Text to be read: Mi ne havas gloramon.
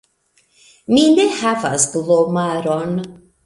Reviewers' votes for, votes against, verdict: 1, 2, rejected